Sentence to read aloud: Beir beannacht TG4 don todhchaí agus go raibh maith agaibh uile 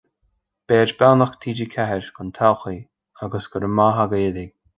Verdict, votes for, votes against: rejected, 0, 2